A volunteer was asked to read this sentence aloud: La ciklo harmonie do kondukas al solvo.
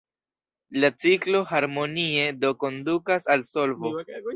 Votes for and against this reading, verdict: 2, 1, accepted